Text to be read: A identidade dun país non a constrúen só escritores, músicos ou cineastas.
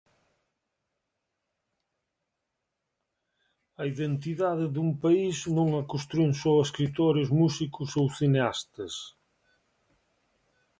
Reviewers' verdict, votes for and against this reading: accepted, 3, 0